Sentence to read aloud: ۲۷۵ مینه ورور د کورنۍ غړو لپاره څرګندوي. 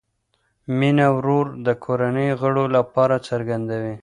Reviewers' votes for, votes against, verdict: 0, 2, rejected